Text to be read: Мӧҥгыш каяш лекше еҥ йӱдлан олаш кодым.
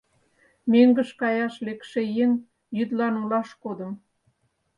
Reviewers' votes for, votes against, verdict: 4, 2, accepted